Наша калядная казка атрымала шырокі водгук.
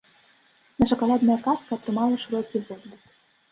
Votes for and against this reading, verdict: 1, 2, rejected